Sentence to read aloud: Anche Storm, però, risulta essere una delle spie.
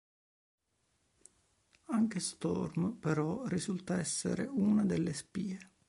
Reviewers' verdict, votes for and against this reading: rejected, 0, 2